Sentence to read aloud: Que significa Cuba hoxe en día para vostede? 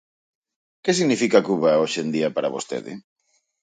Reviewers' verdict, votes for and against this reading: accepted, 4, 0